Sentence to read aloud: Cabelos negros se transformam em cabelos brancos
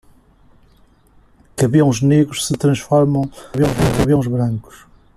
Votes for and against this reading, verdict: 0, 2, rejected